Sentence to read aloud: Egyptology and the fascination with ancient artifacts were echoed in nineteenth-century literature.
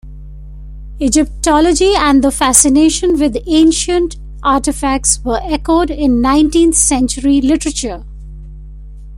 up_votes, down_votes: 1, 2